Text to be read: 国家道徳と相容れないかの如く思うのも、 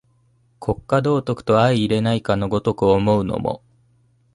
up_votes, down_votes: 2, 0